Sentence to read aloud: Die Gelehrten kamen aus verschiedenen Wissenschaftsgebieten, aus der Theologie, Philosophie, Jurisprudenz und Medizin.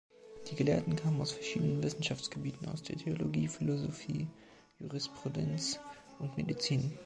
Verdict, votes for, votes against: accepted, 2, 0